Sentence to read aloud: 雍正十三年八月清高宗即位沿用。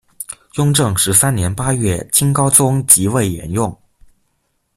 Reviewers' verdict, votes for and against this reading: accepted, 2, 0